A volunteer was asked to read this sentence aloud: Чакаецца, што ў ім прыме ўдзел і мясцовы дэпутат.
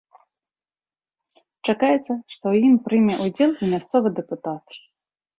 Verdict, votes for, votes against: accepted, 2, 0